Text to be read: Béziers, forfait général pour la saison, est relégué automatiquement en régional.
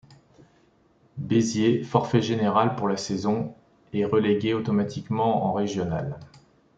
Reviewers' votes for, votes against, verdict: 2, 0, accepted